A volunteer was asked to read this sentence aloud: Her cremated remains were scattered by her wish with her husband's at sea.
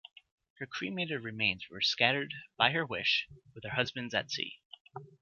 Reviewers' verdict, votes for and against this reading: accepted, 2, 1